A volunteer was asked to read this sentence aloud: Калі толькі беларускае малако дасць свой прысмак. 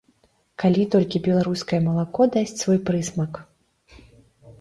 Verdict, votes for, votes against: accepted, 2, 0